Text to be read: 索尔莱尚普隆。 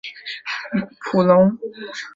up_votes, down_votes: 0, 2